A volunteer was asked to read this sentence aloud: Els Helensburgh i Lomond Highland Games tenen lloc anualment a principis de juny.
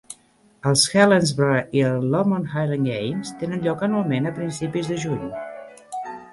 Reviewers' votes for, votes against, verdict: 0, 2, rejected